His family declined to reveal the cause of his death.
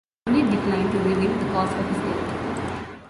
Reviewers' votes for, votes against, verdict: 1, 2, rejected